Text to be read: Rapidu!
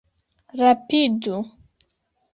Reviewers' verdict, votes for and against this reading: accepted, 2, 0